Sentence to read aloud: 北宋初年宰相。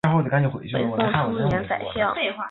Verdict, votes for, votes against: rejected, 1, 2